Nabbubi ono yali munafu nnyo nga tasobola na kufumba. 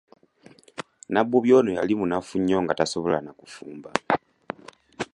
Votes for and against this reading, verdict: 2, 0, accepted